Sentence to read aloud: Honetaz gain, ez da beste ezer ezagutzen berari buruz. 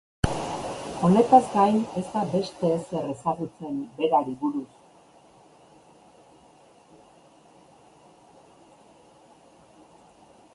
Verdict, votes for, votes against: rejected, 1, 2